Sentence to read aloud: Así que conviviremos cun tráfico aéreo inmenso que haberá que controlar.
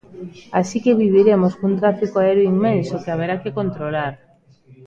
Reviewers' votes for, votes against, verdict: 0, 2, rejected